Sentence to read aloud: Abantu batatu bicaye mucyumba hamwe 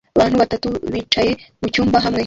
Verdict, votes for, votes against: rejected, 1, 2